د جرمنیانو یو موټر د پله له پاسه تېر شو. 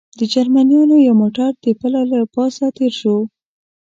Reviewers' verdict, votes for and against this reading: accepted, 2, 0